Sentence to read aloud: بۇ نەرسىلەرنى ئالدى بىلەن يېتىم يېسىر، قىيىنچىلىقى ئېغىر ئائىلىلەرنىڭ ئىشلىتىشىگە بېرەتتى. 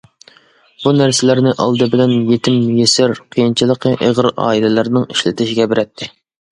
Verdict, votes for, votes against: accepted, 2, 0